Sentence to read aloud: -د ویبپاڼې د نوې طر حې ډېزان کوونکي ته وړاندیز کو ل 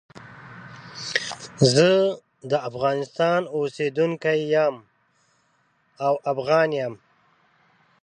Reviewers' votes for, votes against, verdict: 0, 2, rejected